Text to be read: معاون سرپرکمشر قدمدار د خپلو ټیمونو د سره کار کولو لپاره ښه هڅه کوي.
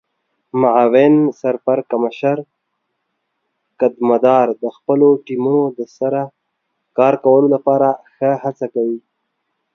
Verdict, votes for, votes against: accepted, 3, 0